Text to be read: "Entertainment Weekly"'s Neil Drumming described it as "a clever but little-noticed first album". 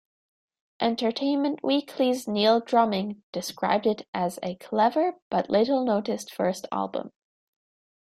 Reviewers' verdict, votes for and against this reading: accepted, 2, 1